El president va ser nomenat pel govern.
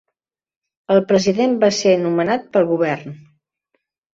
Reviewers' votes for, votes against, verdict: 3, 0, accepted